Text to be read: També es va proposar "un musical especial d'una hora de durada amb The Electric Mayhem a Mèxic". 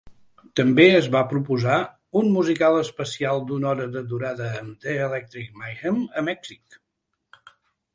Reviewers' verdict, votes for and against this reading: accepted, 3, 0